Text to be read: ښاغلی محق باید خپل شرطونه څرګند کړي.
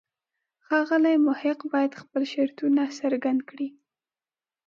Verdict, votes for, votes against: accepted, 2, 0